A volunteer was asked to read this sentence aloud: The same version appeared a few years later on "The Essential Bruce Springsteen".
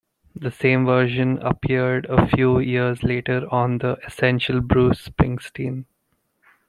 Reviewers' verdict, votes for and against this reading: accepted, 2, 0